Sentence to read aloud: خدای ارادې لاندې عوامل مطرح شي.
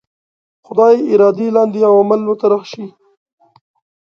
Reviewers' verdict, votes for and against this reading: accepted, 2, 0